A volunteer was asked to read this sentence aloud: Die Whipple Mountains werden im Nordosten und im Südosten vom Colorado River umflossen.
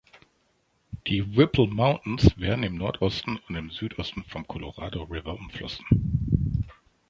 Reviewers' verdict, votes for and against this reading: accepted, 3, 1